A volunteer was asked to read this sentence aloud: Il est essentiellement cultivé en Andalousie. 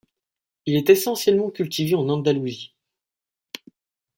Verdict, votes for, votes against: accepted, 2, 0